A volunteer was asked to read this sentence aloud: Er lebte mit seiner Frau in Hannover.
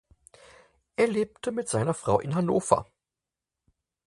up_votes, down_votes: 4, 0